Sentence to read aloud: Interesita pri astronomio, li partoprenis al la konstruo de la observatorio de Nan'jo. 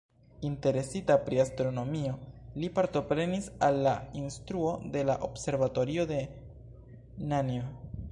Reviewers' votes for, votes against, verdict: 1, 2, rejected